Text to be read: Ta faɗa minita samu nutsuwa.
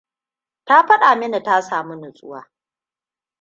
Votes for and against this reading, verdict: 1, 2, rejected